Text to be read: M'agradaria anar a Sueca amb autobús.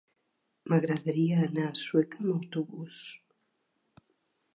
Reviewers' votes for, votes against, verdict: 0, 2, rejected